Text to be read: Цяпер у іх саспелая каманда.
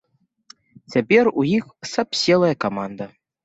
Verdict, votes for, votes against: rejected, 0, 2